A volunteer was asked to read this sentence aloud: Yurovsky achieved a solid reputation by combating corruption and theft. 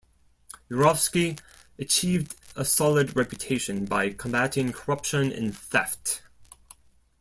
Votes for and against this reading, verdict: 2, 0, accepted